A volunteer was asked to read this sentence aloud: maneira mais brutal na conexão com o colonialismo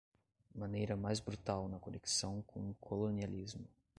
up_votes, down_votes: 2, 0